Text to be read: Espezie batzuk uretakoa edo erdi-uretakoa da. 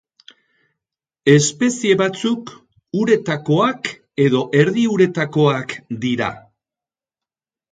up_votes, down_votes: 0, 2